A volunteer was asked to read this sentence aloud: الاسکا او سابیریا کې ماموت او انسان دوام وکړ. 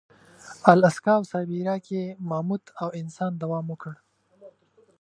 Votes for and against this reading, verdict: 2, 0, accepted